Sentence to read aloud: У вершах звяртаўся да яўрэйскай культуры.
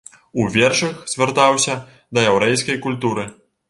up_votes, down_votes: 2, 0